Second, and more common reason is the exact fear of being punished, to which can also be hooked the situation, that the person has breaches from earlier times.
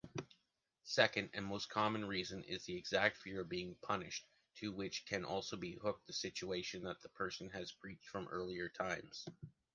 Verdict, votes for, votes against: rejected, 0, 2